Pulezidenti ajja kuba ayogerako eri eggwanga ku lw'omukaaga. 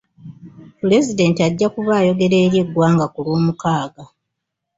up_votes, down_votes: 1, 2